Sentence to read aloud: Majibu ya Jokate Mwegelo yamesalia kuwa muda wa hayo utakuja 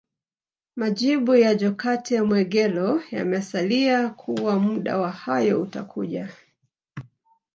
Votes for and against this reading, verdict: 2, 0, accepted